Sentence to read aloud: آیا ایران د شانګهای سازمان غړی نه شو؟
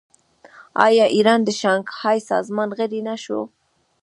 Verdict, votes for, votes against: rejected, 1, 2